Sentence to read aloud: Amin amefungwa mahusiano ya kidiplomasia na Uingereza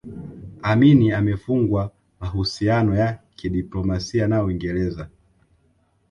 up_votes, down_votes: 5, 1